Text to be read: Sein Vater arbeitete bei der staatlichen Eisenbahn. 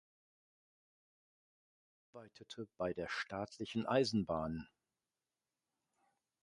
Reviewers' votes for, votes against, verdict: 0, 2, rejected